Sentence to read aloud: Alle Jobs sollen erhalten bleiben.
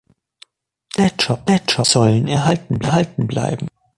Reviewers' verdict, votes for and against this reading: rejected, 0, 2